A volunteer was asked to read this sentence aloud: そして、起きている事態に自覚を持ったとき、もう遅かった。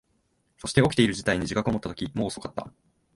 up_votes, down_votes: 2, 0